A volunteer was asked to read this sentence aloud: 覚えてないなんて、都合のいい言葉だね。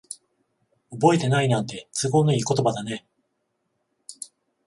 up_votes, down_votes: 7, 14